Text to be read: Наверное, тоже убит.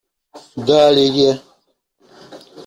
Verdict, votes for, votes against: rejected, 0, 2